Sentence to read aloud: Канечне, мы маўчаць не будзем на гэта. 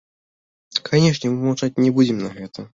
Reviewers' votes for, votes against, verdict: 1, 2, rejected